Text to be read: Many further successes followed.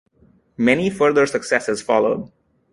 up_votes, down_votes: 2, 0